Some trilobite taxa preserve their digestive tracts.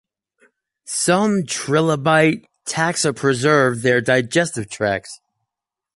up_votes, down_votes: 2, 0